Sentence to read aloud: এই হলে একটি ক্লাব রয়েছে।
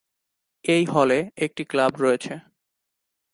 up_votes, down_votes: 3, 0